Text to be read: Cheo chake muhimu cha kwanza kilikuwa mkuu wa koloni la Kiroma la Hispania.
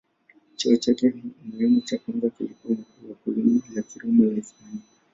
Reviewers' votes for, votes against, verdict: 0, 2, rejected